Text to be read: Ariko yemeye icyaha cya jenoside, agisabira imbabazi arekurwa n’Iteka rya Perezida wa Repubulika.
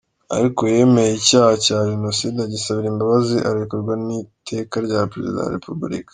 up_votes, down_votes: 2, 0